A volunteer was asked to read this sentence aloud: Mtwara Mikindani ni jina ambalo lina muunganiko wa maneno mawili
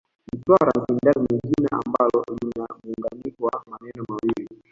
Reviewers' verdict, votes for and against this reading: rejected, 1, 2